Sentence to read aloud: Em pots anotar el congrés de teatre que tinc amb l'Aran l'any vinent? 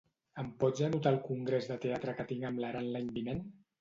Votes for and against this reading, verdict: 2, 0, accepted